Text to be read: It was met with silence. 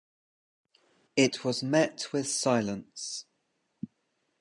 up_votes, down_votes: 2, 0